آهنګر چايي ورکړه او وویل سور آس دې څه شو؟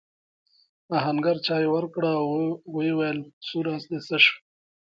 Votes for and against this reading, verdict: 2, 1, accepted